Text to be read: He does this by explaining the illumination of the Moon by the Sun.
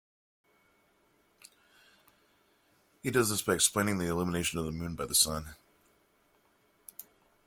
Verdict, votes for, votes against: accepted, 2, 1